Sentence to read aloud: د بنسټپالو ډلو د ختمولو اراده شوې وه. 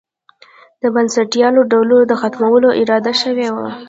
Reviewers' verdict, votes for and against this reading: rejected, 0, 2